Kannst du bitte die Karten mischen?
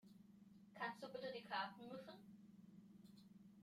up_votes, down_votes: 1, 2